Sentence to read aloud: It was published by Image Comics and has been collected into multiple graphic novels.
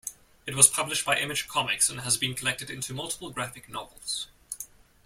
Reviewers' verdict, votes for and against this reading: accepted, 2, 0